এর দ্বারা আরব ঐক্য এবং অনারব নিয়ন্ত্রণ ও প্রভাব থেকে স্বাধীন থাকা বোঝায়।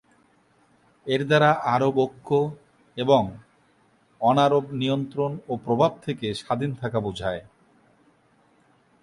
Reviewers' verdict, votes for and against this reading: accepted, 2, 1